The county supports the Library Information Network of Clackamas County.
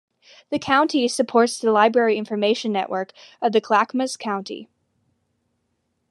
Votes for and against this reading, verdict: 2, 1, accepted